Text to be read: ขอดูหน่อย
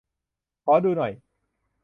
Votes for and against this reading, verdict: 2, 0, accepted